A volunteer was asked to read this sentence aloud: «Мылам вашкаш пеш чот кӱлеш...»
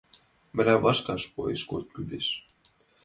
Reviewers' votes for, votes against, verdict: 0, 3, rejected